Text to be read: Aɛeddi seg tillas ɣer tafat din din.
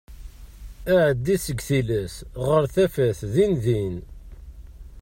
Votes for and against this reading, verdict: 2, 1, accepted